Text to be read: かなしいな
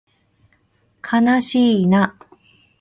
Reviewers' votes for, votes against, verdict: 2, 0, accepted